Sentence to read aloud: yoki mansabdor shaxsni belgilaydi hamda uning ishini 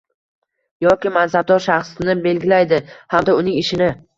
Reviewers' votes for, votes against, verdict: 1, 2, rejected